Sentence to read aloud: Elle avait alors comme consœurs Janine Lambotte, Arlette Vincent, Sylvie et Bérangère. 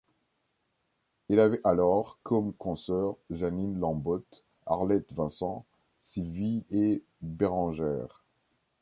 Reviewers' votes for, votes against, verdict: 1, 2, rejected